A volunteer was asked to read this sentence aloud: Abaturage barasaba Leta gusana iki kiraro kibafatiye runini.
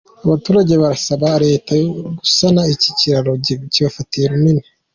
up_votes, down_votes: 2, 0